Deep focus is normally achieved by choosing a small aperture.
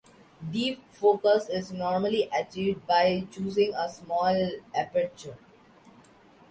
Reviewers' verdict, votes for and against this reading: accepted, 2, 0